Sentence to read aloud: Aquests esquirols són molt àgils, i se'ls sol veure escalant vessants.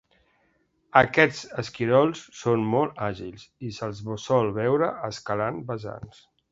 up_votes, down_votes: 2, 1